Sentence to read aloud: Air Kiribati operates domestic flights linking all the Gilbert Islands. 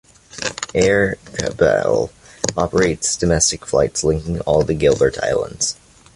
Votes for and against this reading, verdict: 2, 1, accepted